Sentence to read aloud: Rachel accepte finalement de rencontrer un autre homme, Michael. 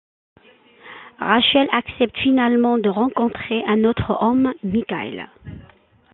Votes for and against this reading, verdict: 2, 1, accepted